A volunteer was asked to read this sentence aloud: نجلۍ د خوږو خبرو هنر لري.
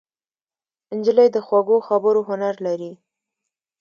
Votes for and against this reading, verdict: 2, 0, accepted